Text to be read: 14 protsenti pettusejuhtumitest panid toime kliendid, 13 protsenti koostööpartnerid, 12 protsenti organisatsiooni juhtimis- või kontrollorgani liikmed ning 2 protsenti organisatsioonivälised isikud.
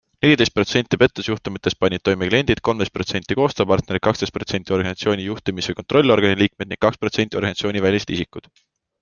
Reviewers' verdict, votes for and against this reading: rejected, 0, 2